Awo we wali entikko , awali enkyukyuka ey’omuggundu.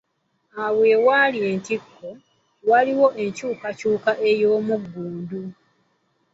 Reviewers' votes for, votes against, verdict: 1, 2, rejected